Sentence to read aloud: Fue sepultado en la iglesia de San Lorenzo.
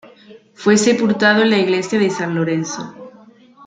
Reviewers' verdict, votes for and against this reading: rejected, 1, 2